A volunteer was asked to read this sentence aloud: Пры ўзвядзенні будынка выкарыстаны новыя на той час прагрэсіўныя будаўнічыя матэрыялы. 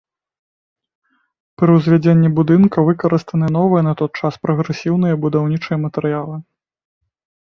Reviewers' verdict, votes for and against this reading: rejected, 0, 2